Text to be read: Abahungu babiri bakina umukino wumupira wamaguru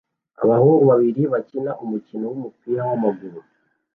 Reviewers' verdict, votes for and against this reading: accepted, 2, 0